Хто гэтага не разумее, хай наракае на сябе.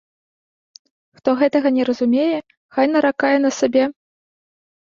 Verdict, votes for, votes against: rejected, 0, 2